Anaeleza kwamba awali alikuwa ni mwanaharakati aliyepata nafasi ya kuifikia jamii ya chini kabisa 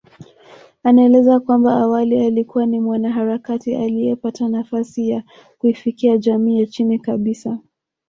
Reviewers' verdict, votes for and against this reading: accepted, 2, 0